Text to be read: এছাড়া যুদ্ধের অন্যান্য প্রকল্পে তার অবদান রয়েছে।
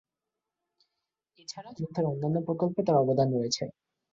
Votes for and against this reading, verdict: 1, 2, rejected